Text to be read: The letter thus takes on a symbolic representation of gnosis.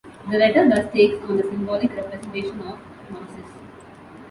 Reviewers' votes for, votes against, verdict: 0, 2, rejected